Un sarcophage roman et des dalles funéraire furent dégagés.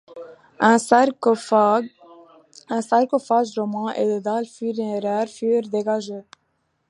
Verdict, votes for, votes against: rejected, 0, 2